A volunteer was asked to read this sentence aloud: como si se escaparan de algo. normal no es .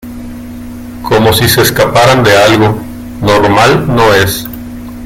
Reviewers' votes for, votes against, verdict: 2, 0, accepted